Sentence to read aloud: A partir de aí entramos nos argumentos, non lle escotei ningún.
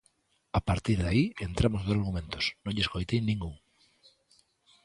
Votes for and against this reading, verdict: 2, 1, accepted